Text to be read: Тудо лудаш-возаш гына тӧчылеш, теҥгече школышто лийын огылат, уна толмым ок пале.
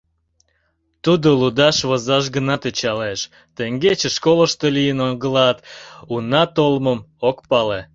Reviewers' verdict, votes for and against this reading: rejected, 1, 2